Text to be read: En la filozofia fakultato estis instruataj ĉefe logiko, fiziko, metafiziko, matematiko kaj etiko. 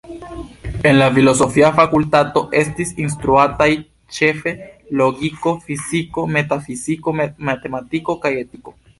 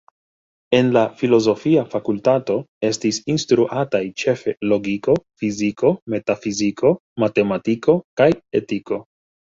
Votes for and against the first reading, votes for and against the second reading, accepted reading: 0, 2, 2, 0, second